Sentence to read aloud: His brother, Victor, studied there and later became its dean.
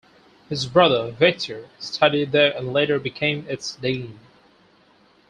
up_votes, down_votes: 2, 2